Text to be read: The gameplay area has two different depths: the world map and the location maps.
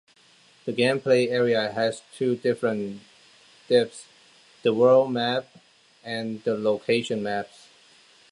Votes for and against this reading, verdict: 2, 0, accepted